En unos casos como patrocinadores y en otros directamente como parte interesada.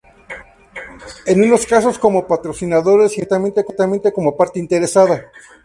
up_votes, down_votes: 0, 2